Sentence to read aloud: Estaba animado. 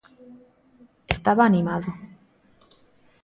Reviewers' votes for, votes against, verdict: 2, 0, accepted